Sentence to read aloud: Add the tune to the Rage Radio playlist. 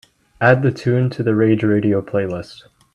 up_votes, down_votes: 2, 0